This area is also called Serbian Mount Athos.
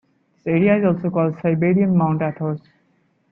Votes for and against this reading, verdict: 1, 2, rejected